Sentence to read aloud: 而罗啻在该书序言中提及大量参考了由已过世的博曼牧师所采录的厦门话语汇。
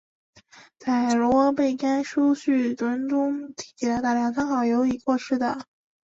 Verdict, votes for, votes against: rejected, 1, 2